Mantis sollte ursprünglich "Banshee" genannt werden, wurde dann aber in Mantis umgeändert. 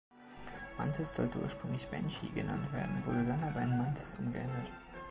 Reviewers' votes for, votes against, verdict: 2, 0, accepted